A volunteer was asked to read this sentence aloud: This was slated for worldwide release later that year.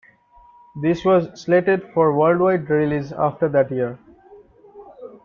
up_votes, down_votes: 0, 2